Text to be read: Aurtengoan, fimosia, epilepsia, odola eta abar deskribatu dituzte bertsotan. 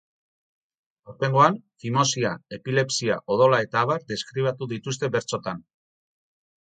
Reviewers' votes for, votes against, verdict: 0, 4, rejected